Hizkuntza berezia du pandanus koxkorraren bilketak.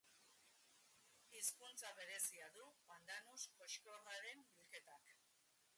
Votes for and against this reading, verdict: 0, 2, rejected